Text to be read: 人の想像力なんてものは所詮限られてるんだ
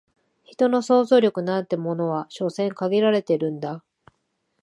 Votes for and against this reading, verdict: 10, 1, accepted